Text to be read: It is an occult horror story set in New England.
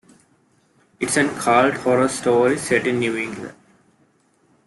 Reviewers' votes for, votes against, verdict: 2, 3, rejected